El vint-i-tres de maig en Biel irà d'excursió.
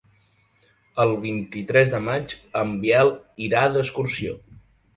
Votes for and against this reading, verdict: 2, 0, accepted